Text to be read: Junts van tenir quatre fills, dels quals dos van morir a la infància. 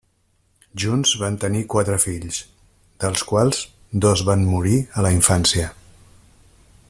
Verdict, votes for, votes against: accepted, 3, 0